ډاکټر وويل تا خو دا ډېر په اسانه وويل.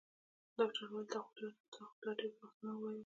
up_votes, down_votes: 0, 2